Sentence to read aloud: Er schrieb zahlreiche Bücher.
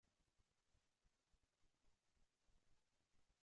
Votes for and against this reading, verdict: 0, 2, rejected